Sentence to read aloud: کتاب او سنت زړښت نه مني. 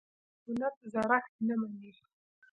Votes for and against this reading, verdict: 1, 2, rejected